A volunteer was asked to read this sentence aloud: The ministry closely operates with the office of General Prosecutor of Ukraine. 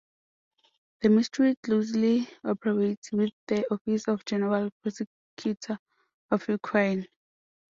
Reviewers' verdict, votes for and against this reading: rejected, 1, 2